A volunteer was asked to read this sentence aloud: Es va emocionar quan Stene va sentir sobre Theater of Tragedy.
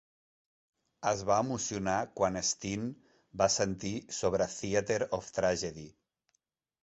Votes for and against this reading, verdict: 2, 0, accepted